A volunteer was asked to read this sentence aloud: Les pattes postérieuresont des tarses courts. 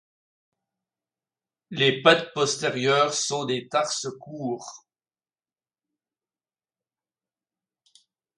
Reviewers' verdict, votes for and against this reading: rejected, 1, 2